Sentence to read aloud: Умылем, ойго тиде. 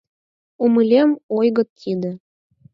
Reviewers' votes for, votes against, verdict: 2, 4, rejected